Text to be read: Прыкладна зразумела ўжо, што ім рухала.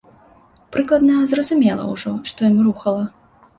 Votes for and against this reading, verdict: 2, 0, accepted